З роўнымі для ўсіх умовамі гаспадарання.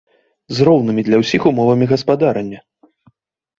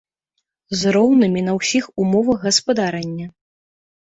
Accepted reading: first